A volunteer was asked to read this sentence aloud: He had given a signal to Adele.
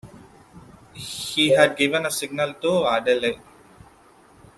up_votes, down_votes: 0, 2